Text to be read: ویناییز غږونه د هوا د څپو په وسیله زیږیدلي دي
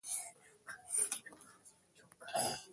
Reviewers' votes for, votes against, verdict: 0, 2, rejected